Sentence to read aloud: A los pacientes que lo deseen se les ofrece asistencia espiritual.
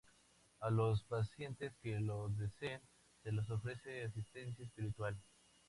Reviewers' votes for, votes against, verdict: 2, 0, accepted